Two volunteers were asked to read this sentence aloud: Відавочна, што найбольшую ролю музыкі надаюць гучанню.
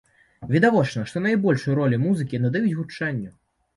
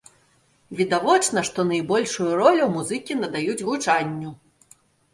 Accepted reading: second